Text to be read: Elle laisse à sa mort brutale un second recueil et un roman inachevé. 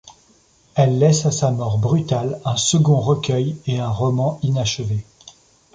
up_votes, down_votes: 2, 0